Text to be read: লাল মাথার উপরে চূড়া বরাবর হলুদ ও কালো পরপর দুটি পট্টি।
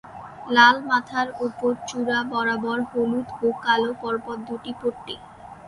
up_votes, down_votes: 1, 2